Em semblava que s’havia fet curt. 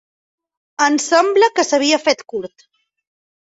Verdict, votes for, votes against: rejected, 1, 3